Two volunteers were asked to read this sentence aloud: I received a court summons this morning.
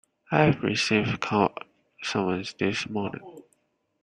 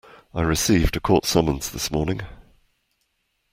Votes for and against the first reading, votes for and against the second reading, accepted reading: 0, 2, 2, 0, second